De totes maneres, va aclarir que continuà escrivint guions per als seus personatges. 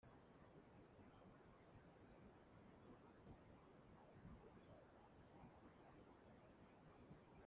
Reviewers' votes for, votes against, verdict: 0, 2, rejected